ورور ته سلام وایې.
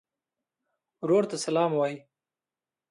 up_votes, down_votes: 0, 2